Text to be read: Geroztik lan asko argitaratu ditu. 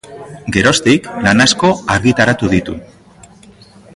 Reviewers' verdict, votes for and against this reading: accepted, 3, 2